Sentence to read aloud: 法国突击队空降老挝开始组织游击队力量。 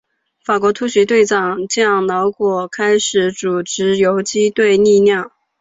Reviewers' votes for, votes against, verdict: 1, 2, rejected